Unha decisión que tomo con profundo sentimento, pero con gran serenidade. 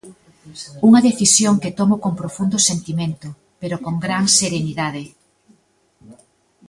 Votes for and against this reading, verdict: 2, 0, accepted